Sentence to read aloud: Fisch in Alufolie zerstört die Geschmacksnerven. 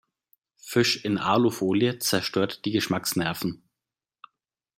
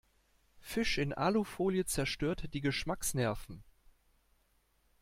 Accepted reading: first